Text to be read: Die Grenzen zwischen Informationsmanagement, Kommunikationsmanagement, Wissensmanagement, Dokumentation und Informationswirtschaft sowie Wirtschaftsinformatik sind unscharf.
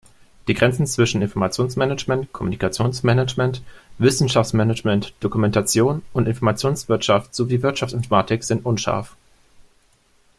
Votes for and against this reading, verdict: 0, 2, rejected